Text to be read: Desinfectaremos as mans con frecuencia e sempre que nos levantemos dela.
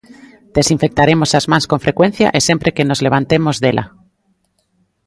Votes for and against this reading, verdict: 2, 0, accepted